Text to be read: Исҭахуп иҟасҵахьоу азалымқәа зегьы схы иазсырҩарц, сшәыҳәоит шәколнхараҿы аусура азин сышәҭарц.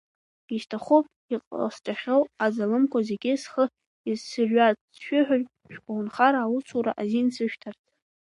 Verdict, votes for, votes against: rejected, 0, 2